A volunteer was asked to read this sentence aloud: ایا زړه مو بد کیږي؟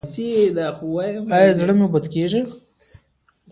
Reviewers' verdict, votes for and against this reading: rejected, 0, 2